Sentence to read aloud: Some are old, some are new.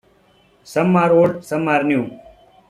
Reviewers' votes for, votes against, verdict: 2, 0, accepted